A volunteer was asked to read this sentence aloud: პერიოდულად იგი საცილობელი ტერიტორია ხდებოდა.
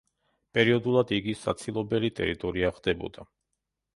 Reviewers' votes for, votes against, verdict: 2, 0, accepted